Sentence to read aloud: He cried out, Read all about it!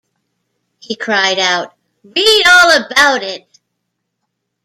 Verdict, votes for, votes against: rejected, 1, 2